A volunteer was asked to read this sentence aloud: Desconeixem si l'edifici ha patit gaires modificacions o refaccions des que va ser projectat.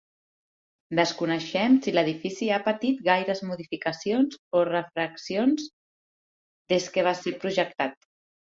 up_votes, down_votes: 1, 2